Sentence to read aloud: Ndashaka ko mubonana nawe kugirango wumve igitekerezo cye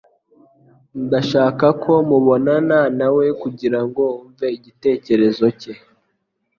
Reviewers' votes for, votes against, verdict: 2, 0, accepted